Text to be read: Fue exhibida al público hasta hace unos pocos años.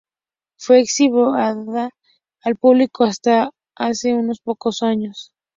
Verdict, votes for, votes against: rejected, 0, 2